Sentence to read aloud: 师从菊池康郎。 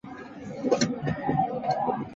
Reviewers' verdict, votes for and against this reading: rejected, 1, 2